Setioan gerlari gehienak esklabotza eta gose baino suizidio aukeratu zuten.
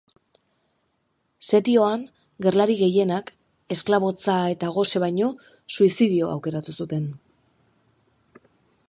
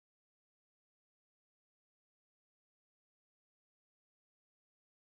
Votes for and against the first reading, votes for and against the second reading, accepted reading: 3, 0, 0, 2, first